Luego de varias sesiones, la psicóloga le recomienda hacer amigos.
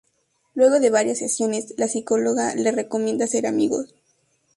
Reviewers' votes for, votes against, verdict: 2, 0, accepted